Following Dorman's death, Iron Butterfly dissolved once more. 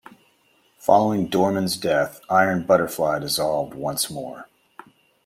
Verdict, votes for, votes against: accepted, 2, 0